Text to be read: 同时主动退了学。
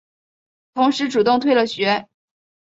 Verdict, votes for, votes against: accepted, 3, 0